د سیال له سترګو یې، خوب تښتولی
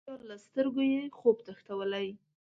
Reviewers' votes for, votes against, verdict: 1, 2, rejected